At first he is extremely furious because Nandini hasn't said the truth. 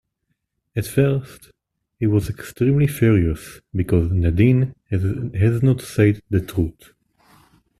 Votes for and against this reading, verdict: 0, 2, rejected